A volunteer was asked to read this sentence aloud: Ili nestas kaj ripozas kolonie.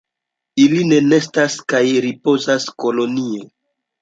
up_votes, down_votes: 1, 2